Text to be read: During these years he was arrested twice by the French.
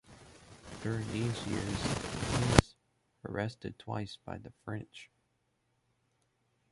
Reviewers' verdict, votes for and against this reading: rejected, 1, 2